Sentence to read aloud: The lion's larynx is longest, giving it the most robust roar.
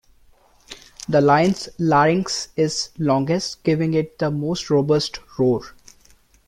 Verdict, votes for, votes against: rejected, 0, 2